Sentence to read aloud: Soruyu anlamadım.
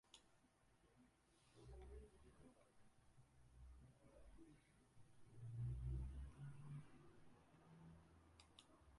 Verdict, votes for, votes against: rejected, 0, 4